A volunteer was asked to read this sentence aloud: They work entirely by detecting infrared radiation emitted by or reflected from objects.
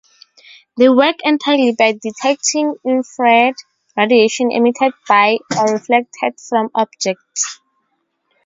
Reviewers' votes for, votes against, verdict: 2, 0, accepted